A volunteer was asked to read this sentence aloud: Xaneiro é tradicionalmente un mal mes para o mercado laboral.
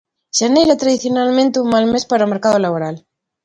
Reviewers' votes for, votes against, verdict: 2, 0, accepted